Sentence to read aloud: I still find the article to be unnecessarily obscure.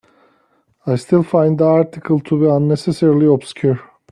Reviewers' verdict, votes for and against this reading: accepted, 3, 0